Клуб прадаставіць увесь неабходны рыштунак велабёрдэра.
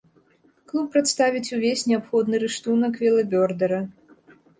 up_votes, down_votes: 1, 2